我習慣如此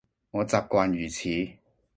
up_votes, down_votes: 2, 0